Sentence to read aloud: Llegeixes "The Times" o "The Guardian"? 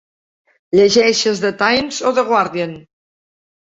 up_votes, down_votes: 2, 0